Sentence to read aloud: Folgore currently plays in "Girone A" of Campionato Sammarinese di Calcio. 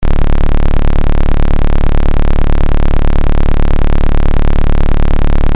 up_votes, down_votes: 0, 2